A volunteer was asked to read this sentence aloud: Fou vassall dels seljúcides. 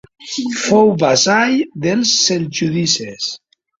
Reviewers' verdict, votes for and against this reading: rejected, 0, 2